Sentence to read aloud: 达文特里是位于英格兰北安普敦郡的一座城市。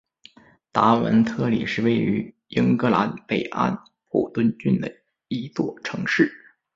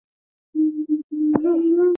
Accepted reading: first